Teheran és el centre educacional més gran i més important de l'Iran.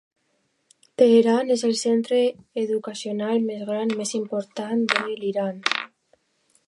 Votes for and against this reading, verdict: 3, 0, accepted